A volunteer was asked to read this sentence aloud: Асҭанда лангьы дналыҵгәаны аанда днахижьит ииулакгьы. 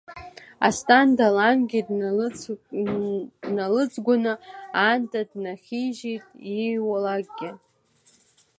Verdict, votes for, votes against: rejected, 1, 2